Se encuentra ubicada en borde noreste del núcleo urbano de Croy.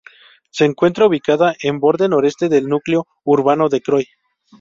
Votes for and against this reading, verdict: 2, 0, accepted